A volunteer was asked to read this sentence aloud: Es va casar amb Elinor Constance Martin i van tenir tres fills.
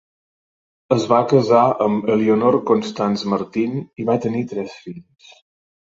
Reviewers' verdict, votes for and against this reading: rejected, 1, 2